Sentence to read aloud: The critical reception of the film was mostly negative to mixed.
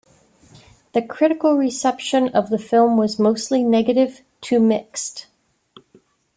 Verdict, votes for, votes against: accepted, 2, 0